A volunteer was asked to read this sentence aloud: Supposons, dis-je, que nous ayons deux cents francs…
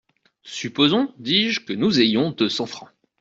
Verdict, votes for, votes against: accepted, 2, 0